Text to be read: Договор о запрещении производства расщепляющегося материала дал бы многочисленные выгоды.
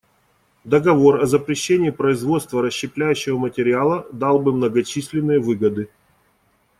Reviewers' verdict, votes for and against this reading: rejected, 0, 2